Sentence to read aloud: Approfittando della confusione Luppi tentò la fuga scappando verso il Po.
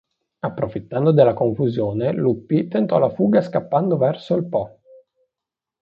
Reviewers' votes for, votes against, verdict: 2, 0, accepted